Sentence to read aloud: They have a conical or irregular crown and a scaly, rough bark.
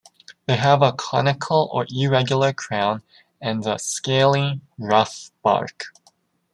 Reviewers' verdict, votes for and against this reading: accepted, 2, 0